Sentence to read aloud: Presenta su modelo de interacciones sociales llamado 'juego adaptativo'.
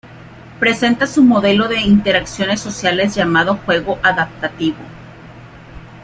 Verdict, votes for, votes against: accepted, 2, 0